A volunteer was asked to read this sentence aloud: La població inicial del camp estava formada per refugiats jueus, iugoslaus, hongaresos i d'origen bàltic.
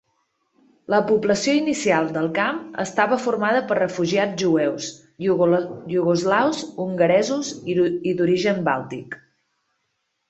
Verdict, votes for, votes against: rejected, 1, 2